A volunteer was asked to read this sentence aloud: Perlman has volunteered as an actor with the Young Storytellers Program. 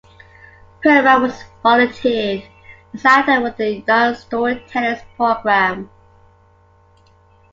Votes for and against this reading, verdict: 0, 2, rejected